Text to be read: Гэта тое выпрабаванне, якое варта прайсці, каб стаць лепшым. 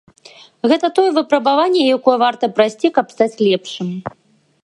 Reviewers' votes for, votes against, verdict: 2, 0, accepted